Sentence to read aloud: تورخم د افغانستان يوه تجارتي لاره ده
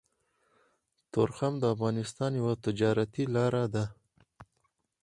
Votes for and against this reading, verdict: 4, 2, accepted